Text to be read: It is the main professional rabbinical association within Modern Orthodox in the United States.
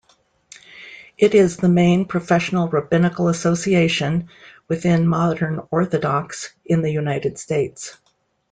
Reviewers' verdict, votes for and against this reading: accepted, 2, 0